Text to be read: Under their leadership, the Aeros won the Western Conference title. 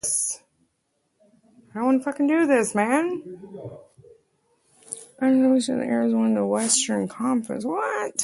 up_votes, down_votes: 0, 2